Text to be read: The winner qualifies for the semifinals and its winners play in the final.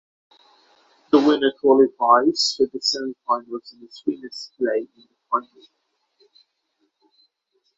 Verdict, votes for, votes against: rejected, 3, 6